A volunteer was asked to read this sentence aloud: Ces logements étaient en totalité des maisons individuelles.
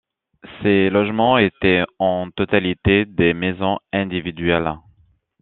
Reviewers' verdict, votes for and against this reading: accepted, 2, 0